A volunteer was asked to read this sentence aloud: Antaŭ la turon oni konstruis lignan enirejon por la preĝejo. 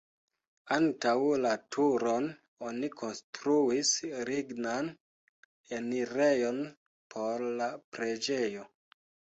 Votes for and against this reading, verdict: 1, 2, rejected